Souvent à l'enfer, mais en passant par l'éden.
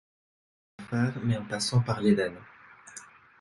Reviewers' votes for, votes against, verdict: 0, 3, rejected